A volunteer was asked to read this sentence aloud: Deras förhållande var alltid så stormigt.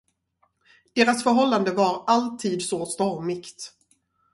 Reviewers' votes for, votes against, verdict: 2, 2, rejected